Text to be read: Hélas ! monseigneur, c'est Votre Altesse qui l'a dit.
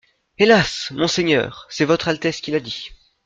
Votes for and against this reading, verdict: 2, 0, accepted